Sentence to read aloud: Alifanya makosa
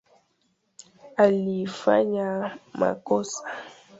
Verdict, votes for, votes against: accepted, 2, 0